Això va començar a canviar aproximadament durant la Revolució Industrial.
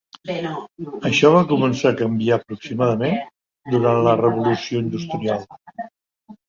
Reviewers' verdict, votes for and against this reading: rejected, 1, 2